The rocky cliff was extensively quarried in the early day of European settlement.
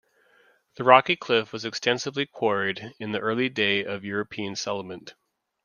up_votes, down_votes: 2, 0